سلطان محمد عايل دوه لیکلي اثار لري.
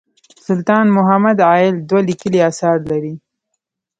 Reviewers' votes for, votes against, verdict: 1, 2, rejected